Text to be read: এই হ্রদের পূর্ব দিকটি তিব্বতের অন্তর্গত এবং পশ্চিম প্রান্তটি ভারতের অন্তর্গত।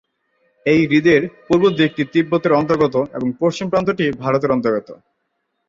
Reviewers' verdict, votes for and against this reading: rejected, 0, 2